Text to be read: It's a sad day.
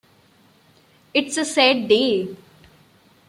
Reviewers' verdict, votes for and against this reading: accepted, 2, 0